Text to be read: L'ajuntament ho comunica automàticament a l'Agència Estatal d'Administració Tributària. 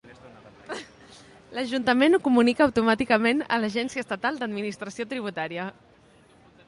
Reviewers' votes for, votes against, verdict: 2, 0, accepted